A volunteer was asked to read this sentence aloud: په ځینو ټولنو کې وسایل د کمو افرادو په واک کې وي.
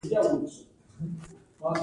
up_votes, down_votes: 1, 2